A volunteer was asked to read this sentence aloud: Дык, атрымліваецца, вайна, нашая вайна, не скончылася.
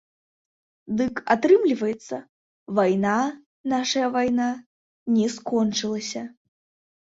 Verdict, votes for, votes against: rejected, 0, 2